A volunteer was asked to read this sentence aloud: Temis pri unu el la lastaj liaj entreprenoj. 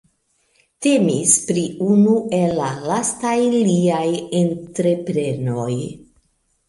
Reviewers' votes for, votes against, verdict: 2, 1, accepted